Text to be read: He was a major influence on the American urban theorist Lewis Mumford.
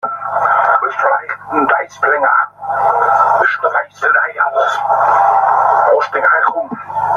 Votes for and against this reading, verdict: 0, 2, rejected